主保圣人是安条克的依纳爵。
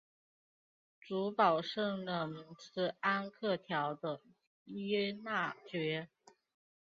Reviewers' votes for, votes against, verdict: 2, 3, rejected